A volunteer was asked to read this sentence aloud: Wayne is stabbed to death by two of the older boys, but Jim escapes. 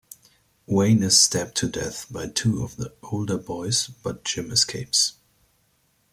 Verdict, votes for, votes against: accepted, 2, 0